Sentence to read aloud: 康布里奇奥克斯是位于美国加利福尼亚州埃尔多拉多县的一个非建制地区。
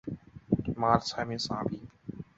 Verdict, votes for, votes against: rejected, 0, 2